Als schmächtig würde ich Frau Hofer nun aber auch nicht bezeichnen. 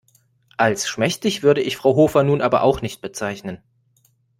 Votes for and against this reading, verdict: 2, 0, accepted